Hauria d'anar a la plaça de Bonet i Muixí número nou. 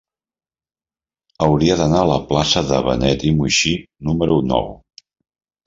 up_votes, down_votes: 0, 2